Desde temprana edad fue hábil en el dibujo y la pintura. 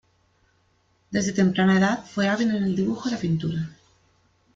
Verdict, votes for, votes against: rejected, 1, 2